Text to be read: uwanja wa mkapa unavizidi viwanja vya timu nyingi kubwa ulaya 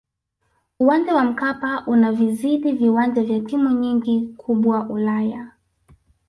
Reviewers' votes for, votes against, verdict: 2, 1, accepted